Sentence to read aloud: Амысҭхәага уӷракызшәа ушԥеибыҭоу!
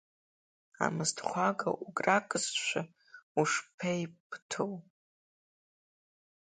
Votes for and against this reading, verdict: 2, 1, accepted